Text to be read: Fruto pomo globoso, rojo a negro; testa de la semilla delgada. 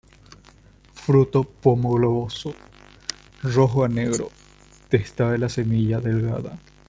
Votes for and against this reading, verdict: 0, 2, rejected